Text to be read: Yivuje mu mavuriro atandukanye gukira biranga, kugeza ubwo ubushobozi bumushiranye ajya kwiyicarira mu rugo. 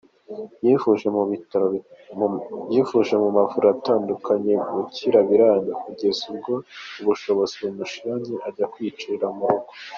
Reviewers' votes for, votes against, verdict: 2, 0, accepted